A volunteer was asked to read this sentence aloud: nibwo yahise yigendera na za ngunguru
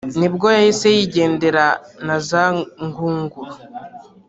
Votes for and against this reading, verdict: 1, 2, rejected